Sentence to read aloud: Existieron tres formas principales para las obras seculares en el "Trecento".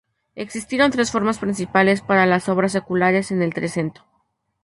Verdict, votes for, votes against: accepted, 2, 0